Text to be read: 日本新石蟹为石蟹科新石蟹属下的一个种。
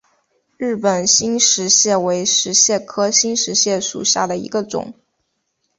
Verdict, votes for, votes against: accepted, 2, 0